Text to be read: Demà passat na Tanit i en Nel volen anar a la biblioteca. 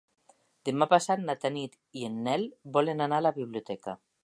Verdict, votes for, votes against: accepted, 3, 0